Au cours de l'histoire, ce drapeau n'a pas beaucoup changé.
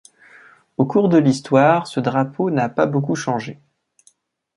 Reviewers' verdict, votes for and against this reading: accepted, 2, 0